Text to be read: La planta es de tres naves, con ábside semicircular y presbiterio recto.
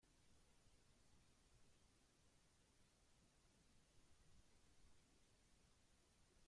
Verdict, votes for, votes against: rejected, 0, 2